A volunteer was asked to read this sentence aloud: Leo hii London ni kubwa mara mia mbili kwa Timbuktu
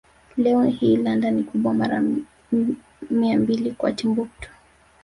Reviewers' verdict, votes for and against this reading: rejected, 0, 2